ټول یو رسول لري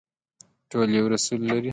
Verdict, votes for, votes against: accepted, 2, 0